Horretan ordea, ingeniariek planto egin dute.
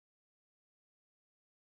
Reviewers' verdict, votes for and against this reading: rejected, 0, 3